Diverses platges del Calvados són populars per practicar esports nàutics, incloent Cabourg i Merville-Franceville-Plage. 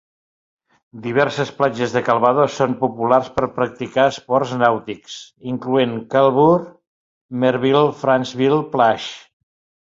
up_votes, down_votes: 1, 2